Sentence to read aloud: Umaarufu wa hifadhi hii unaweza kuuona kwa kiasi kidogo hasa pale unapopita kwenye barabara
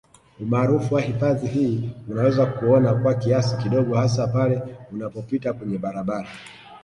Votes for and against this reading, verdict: 2, 1, accepted